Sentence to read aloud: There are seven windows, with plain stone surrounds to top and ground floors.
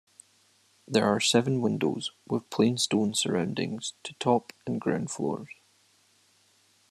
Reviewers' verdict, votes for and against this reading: rejected, 1, 2